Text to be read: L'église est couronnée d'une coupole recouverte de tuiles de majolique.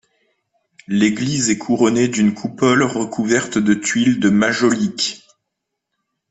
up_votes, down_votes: 2, 0